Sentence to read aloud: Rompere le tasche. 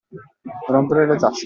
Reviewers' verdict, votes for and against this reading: rejected, 0, 2